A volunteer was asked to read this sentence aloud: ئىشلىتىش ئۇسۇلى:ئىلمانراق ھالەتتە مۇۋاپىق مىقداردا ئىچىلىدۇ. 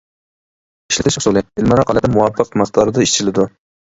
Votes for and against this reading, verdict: 0, 2, rejected